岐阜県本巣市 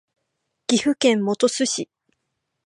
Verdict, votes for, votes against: accepted, 3, 0